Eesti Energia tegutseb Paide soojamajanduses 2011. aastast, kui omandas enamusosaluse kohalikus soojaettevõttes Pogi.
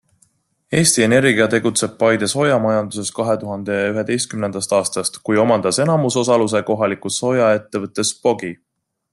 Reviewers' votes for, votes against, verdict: 0, 2, rejected